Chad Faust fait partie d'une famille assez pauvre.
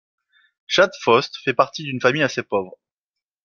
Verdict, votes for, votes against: accepted, 2, 0